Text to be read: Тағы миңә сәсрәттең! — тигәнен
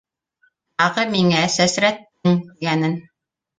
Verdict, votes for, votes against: rejected, 1, 2